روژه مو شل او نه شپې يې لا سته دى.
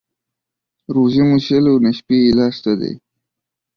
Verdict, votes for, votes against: accepted, 2, 1